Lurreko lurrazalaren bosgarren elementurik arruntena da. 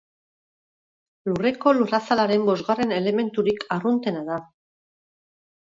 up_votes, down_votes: 4, 0